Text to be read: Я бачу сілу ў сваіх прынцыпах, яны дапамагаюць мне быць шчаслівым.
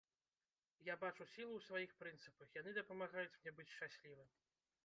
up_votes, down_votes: 0, 2